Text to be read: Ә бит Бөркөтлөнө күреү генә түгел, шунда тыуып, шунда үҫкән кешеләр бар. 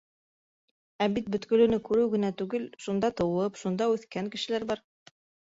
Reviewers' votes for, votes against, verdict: 0, 2, rejected